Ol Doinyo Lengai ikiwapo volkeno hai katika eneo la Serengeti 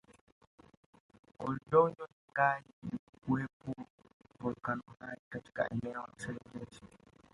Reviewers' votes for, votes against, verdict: 2, 3, rejected